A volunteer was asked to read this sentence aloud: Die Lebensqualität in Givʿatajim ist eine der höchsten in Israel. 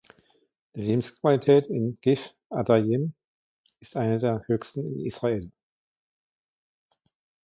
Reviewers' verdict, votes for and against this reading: accepted, 2, 1